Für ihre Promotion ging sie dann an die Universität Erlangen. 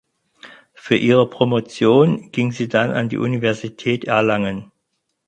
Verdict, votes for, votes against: accepted, 4, 0